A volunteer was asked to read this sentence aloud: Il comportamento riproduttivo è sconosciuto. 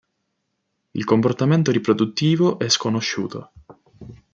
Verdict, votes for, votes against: accepted, 2, 0